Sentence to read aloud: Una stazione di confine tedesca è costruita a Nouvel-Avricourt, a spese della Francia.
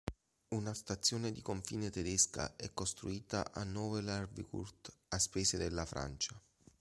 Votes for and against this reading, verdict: 0, 2, rejected